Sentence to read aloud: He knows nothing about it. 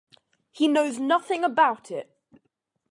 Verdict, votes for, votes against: accepted, 2, 0